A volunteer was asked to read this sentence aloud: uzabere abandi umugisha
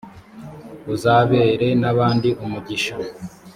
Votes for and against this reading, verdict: 2, 3, rejected